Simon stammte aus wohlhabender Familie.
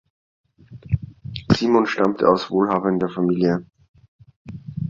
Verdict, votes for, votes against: rejected, 1, 2